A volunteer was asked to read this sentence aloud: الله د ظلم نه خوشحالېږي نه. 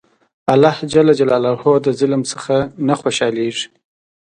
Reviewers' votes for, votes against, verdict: 0, 2, rejected